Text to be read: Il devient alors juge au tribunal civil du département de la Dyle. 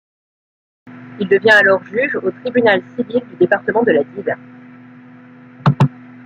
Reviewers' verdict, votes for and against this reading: rejected, 0, 2